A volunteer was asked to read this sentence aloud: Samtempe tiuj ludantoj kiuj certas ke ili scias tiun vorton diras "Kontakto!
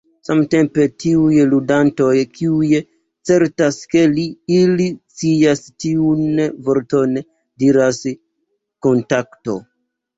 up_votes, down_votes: 0, 2